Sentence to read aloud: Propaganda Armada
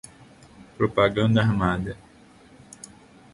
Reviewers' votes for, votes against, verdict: 2, 0, accepted